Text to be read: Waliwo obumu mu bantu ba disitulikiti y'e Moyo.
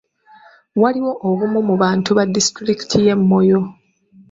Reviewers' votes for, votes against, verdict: 2, 1, accepted